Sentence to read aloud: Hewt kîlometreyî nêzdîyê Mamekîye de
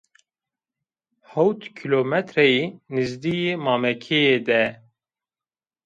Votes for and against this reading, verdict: 0, 2, rejected